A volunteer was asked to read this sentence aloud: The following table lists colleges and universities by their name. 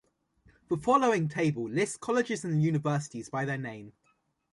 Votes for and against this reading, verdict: 3, 0, accepted